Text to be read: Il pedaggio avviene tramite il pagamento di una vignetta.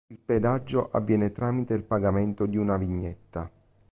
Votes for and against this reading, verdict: 1, 2, rejected